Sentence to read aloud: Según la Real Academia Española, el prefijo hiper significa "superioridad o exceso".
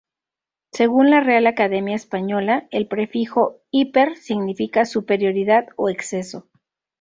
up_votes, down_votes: 2, 0